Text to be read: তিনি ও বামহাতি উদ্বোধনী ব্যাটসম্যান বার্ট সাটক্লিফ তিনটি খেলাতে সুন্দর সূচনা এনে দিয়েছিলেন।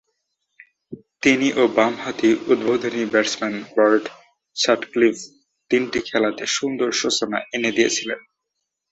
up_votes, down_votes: 2, 2